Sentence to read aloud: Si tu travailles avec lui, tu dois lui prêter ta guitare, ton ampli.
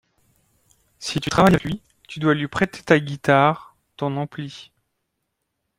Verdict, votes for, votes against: rejected, 0, 2